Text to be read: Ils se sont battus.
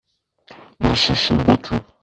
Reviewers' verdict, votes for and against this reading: rejected, 0, 3